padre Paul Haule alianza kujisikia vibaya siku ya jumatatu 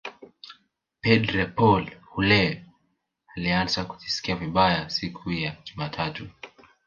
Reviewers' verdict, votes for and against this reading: rejected, 1, 2